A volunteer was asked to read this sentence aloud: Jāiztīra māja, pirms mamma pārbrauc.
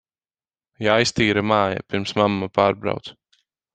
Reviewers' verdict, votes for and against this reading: accepted, 4, 0